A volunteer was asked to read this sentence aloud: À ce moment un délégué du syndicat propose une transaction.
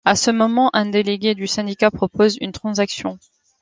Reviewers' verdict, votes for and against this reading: accepted, 2, 0